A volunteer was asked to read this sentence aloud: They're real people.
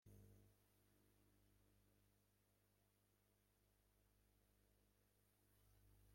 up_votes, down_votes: 0, 2